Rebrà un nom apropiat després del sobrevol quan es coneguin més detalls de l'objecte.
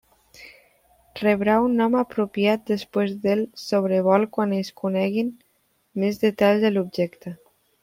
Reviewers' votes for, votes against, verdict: 1, 2, rejected